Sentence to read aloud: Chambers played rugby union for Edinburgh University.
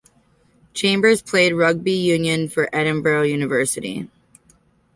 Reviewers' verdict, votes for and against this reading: accepted, 2, 1